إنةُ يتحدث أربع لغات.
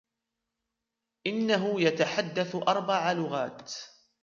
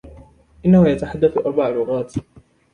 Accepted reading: second